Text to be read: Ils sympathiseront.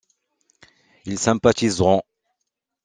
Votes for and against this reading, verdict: 2, 0, accepted